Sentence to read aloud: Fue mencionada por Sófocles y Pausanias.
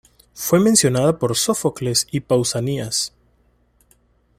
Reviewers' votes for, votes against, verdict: 2, 0, accepted